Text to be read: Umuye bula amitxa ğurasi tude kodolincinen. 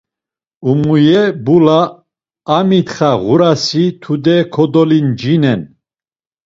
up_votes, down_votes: 2, 0